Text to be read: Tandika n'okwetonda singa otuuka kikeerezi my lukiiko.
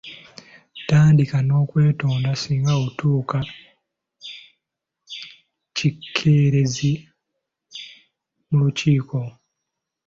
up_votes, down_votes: 1, 2